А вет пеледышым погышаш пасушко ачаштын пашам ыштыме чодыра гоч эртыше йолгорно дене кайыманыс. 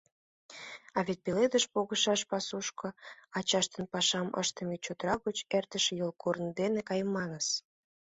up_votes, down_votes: 1, 2